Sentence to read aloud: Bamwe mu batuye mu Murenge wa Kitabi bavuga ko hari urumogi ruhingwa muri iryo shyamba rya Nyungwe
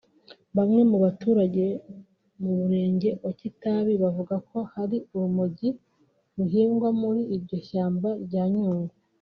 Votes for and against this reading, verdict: 1, 2, rejected